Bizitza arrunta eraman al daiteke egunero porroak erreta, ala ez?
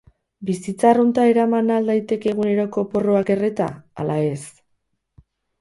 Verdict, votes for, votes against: rejected, 0, 4